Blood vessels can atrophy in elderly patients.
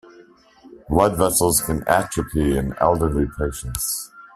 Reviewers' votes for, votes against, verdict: 2, 0, accepted